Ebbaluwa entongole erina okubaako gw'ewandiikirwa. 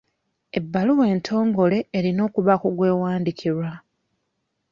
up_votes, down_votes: 2, 0